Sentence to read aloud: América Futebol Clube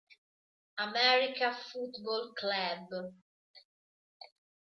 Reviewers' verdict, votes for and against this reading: rejected, 1, 2